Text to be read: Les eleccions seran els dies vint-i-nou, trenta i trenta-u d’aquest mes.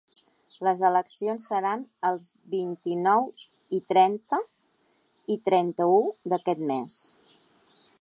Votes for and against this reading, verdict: 1, 2, rejected